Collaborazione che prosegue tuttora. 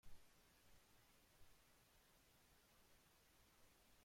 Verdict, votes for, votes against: rejected, 0, 2